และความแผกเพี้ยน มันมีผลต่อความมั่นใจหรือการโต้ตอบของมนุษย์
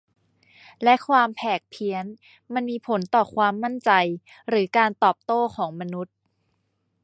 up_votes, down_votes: 2, 1